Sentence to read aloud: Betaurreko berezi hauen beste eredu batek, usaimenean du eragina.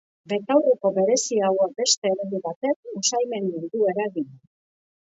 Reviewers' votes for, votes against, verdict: 0, 2, rejected